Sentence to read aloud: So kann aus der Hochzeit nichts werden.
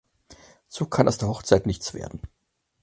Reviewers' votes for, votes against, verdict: 4, 0, accepted